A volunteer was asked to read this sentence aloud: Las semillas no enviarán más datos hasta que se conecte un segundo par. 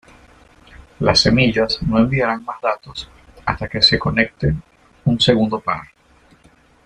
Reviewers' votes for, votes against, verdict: 2, 0, accepted